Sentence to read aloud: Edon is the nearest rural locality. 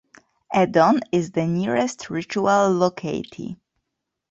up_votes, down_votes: 0, 2